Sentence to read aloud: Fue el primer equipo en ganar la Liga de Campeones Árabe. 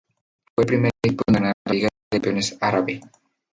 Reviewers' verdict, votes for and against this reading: rejected, 0, 4